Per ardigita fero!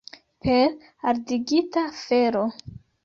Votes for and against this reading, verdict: 2, 0, accepted